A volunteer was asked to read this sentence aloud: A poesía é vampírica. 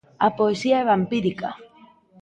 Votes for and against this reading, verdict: 2, 1, accepted